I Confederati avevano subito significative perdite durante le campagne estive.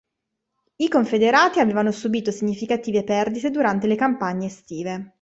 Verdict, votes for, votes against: accepted, 2, 0